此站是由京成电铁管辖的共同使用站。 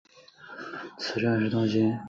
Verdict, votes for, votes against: rejected, 0, 5